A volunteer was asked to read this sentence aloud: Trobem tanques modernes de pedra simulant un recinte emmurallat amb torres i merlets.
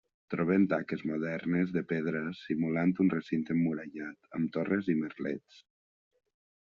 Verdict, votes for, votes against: accepted, 2, 0